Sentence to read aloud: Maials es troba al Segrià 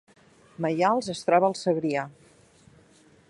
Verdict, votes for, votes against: accepted, 2, 0